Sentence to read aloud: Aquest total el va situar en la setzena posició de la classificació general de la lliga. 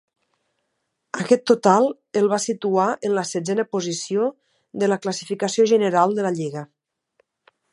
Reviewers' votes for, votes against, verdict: 2, 0, accepted